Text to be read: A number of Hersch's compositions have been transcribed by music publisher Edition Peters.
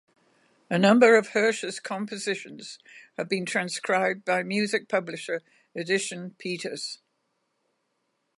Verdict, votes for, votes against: accepted, 2, 0